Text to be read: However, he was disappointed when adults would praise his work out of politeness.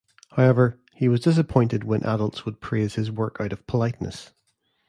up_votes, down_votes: 2, 0